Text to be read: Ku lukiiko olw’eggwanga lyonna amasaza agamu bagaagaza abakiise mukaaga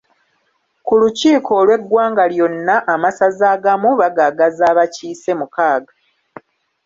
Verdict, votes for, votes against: accepted, 2, 0